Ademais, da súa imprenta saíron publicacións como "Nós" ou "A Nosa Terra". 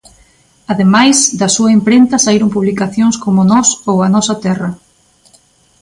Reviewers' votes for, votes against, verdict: 2, 0, accepted